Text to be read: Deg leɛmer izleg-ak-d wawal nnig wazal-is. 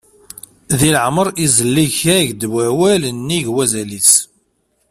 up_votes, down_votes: 1, 2